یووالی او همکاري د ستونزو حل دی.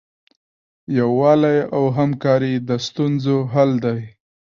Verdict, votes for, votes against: accepted, 2, 0